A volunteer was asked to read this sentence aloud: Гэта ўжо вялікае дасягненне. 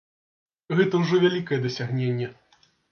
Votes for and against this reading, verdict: 2, 0, accepted